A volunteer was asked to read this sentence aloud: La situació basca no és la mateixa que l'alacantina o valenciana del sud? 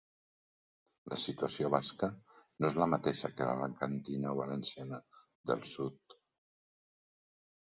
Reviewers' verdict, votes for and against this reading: rejected, 0, 2